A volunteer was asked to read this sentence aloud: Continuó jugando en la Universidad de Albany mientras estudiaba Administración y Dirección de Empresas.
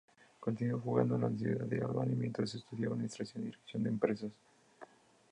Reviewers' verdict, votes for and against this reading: accepted, 2, 0